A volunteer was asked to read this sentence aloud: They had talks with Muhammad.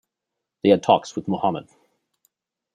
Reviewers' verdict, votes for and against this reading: accepted, 2, 1